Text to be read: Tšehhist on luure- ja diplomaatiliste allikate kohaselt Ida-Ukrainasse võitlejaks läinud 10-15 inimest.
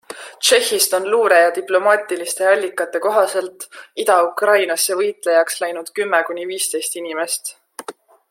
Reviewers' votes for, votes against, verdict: 0, 2, rejected